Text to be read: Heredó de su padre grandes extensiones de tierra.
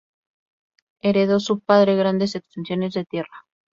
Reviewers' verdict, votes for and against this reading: accepted, 4, 0